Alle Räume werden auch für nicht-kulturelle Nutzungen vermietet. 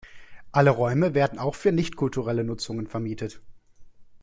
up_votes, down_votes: 2, 0